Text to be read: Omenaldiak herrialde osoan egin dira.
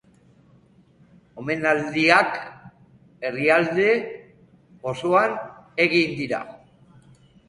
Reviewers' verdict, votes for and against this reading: accepted, 2, 0